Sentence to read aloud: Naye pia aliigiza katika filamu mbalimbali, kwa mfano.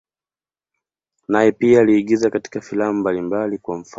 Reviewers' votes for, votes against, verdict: 0, 2, rejected